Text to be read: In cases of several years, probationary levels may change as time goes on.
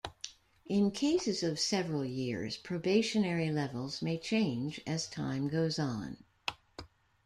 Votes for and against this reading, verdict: 2, 0, accepted